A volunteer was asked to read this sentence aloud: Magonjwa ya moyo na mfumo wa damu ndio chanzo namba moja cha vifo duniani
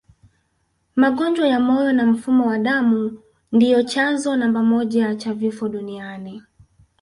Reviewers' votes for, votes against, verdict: 0, 2, rejected